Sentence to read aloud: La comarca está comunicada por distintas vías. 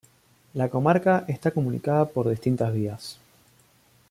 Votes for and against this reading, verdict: 2, 0, accepted